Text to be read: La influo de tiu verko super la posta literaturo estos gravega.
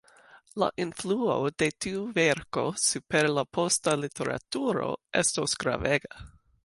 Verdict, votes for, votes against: accepted, 2, 0